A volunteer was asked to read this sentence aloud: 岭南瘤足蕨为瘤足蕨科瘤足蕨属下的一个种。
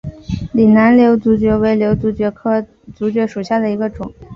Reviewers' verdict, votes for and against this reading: accepted, 2, 0